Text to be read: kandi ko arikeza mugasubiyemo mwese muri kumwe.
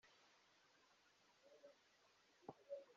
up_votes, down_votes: 0, 2